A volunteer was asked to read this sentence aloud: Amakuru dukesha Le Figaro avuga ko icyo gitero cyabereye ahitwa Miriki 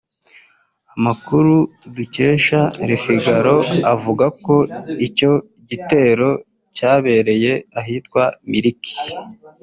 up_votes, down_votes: 0, 2